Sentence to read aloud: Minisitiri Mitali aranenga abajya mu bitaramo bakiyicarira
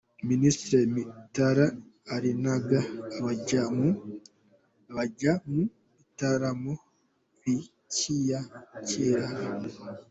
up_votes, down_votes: 0, 3